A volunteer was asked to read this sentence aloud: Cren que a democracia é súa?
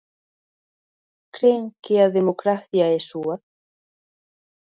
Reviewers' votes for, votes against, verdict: 2, 0, accepted